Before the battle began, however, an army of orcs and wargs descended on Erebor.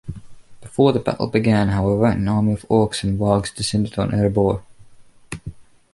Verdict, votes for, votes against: accepted, 2, 0